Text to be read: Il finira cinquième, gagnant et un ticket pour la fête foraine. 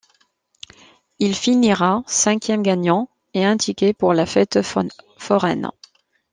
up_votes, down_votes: 0, 2